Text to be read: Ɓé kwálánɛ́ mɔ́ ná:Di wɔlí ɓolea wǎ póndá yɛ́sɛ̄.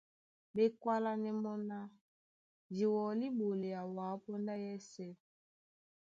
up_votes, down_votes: 2, 0